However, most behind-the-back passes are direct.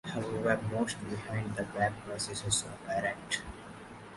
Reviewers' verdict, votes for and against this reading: rejected, 0, 2